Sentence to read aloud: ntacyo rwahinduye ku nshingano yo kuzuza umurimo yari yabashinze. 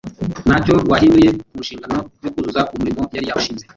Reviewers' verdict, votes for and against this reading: rejected, 0, 2